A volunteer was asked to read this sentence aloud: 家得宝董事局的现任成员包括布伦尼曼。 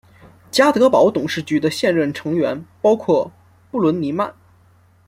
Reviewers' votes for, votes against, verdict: 2, 0, accepted